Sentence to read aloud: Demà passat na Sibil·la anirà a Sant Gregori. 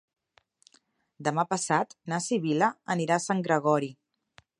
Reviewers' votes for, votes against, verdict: 2, 0, accepted